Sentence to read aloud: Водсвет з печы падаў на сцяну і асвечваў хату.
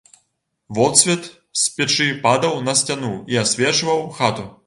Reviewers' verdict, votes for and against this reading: accepted, 2, 0